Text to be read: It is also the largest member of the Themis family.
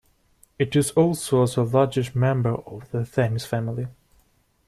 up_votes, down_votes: 2, 1